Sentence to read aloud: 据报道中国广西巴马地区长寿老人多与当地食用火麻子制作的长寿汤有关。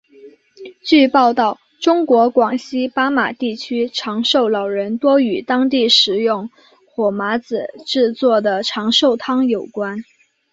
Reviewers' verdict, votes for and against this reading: accepted, 3, 0